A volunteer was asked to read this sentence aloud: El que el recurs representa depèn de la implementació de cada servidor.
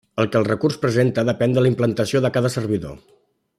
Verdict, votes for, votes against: rejected, 1, 2